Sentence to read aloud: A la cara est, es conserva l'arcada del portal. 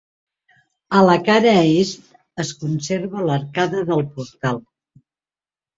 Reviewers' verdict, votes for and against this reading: accepted, 2, 0